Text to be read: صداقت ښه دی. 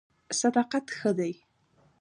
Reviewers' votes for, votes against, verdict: 2, 0, accepted